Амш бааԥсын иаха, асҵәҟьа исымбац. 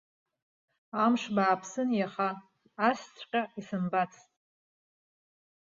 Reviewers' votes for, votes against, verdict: 2, 1, accepted